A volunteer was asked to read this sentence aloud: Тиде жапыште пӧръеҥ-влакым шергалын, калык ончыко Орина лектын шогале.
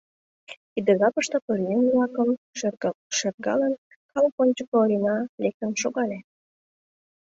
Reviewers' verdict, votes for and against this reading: rejected, 0, 2